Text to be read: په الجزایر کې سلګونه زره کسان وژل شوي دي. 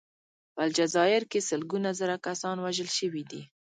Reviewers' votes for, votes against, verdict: 2, 0, accepted